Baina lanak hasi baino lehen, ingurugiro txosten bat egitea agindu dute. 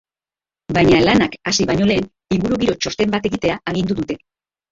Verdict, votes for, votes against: rejected, 2, 2